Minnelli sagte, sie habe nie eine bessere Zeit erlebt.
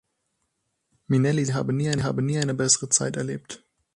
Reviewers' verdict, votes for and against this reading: rejected, 0, 6